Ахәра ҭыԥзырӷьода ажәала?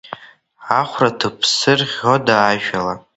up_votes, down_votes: 0, 2